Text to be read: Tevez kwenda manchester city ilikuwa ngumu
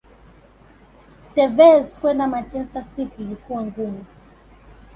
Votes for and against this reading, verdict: 0, 2, rejected